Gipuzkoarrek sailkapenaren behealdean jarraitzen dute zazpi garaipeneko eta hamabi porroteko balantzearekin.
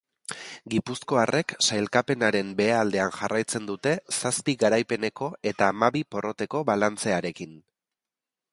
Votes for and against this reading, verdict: 4, 0, accepted